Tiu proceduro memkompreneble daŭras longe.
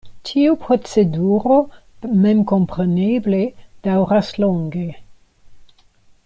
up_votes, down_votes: 2, 0